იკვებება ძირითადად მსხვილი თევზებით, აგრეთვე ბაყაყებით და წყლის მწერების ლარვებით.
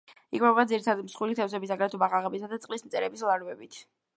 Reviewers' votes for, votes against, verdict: 1, 2, rejected